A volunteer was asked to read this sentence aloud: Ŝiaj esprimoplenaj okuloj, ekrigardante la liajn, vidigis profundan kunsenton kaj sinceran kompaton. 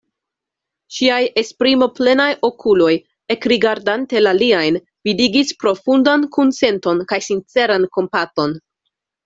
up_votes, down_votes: 2, 0